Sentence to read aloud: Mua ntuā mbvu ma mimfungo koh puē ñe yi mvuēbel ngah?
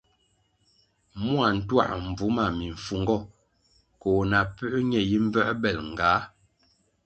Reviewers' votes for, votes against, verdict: 2, 0, accepted